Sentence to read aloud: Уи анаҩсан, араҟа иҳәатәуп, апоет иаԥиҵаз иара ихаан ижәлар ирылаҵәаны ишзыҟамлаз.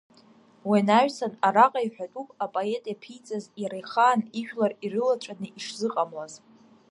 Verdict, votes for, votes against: rejected, 1, 2